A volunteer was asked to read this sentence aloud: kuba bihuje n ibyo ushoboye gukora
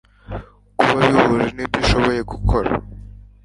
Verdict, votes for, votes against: accepted, 2, 0